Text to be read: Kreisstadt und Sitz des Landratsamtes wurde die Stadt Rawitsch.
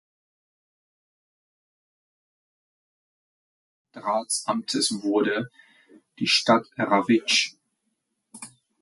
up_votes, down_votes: 1, 2